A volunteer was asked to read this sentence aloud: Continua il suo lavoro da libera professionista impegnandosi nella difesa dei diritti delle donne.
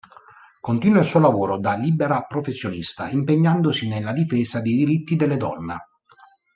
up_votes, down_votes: 3, 1